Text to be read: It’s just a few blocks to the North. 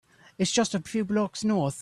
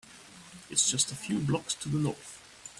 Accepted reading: second